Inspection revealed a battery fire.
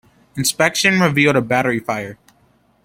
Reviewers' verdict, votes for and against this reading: accepted, 2, 0